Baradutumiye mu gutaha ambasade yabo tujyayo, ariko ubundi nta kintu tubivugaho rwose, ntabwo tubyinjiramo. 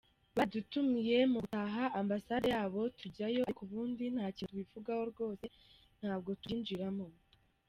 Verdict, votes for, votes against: rejected, 1, 2